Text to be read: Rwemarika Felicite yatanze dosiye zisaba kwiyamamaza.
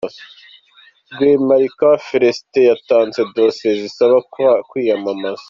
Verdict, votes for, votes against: rejected, 1, 2